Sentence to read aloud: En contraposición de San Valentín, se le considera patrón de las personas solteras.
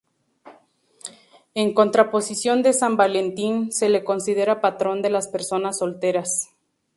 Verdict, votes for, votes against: accepted, 2, 0